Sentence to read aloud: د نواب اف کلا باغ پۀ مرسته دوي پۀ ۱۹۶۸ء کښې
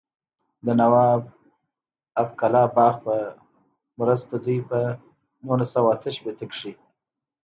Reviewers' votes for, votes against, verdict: 0, 2, rejected